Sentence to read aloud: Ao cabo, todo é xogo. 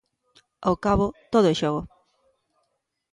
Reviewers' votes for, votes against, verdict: 2, 0, accepted